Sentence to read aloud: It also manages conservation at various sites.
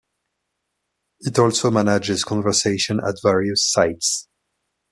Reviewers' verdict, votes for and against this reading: rejected, 1, 2